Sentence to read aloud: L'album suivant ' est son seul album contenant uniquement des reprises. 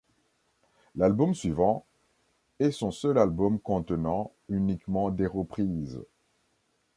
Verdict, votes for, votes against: accepted, 2, 0